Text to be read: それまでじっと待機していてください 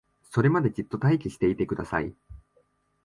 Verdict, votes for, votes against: accepted, 3, 0